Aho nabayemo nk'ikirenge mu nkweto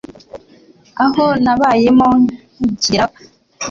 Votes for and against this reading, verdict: 0, 2, rejected